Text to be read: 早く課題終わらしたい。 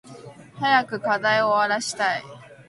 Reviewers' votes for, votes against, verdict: 2, 0, accepted